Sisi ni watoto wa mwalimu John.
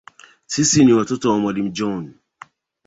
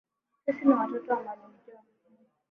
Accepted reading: first